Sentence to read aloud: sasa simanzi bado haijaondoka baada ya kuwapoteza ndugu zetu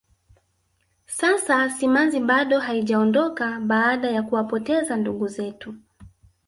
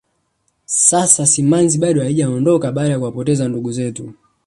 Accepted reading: second